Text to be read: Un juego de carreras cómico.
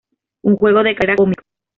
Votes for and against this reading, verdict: 1, 2, rejected